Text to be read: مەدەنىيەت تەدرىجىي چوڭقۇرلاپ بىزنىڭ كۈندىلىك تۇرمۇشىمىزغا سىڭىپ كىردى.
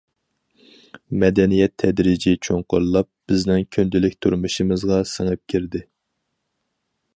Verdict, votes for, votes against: accepted, 4, 2